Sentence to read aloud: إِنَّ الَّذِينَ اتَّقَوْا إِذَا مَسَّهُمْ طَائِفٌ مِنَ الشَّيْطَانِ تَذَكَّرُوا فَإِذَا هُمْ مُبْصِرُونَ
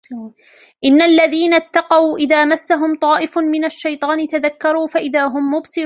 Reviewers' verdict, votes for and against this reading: rejected, 1, 2